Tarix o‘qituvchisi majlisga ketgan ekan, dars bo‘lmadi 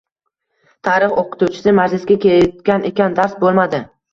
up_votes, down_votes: 1, 2